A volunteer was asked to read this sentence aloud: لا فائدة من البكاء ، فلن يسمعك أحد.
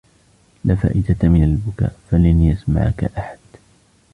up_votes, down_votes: 1, 2